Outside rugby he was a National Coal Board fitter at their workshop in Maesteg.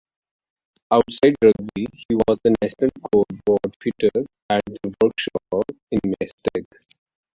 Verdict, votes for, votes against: accepted, 2, 0